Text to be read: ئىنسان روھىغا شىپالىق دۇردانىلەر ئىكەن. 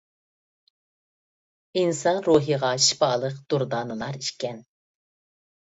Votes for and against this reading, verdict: 2, 0, accepted